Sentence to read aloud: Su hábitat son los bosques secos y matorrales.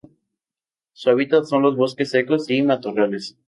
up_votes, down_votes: 2, 0